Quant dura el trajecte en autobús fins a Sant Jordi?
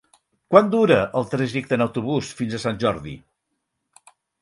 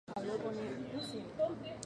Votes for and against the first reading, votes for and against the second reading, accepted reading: 6, 0, 2, 2, first